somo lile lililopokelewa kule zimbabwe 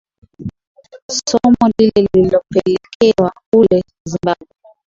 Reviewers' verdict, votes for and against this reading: rejected, 6, 6